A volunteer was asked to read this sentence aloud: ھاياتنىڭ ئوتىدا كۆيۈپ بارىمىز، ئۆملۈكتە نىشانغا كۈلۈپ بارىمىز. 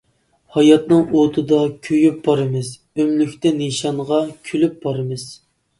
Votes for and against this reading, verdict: 2, 0, accepted